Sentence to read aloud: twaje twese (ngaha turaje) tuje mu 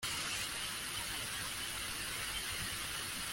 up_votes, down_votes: 0, 2